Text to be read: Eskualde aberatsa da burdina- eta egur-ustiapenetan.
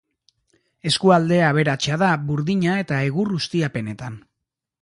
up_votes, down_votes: 2, 0